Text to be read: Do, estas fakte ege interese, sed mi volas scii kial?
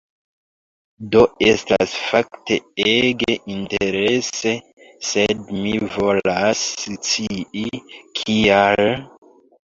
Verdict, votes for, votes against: rejected, 1, 3